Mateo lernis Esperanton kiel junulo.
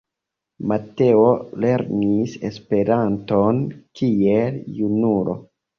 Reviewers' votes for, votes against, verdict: 2, 0, accepted